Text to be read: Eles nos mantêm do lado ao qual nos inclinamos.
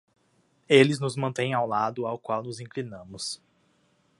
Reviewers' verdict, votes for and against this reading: accepted, 2, 1